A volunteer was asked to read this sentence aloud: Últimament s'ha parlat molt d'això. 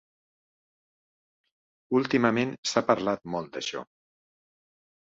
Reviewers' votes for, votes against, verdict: 2, 1, accepted